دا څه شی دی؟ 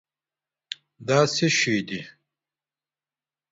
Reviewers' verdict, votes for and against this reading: rejected, 1, 2